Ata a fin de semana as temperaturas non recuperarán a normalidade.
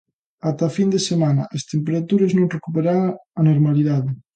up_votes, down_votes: 0, 2